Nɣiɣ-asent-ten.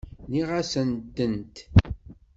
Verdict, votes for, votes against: rejected, 0, 2